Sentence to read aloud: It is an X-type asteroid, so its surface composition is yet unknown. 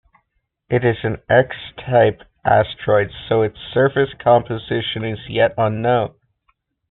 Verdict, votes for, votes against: accepted, 2, 0